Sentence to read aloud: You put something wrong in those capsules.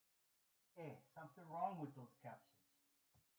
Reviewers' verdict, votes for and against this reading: rejected, 0, 2